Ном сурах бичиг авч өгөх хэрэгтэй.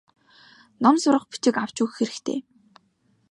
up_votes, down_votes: 2, 0